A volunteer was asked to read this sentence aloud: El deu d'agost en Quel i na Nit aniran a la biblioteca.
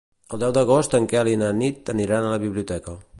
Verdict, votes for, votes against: accepted, 2, 0